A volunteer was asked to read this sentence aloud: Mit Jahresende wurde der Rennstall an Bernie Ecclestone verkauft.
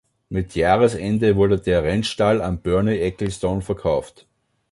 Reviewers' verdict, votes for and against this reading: accepted, 2, 0